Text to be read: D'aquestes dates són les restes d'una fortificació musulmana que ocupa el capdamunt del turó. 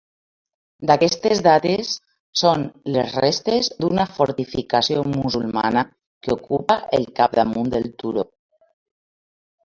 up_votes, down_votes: 3, 0